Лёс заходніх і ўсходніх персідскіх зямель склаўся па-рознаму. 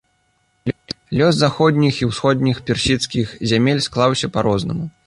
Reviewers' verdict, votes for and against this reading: accepted, 2, 1